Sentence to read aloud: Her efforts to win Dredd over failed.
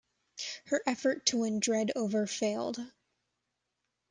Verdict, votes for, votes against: accepted, 2, 0